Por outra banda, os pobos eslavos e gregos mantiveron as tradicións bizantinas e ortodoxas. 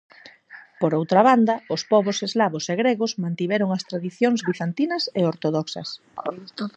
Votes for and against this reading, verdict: 0, 4, rejected